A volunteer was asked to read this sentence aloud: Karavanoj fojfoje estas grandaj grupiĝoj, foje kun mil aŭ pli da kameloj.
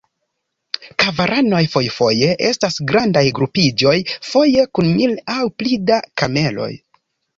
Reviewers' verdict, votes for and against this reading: accepted, 2, 0